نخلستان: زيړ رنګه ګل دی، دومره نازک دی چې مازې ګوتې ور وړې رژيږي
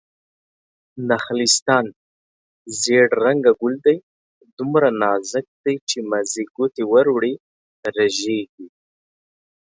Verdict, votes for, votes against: accepted, 2, 0